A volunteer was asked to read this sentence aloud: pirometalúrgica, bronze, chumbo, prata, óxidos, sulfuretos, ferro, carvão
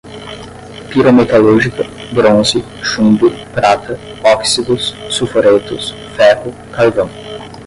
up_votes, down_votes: 0, 5